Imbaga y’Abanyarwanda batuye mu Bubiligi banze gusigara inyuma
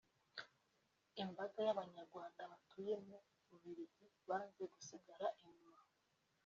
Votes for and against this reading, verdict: 0, 2, rejected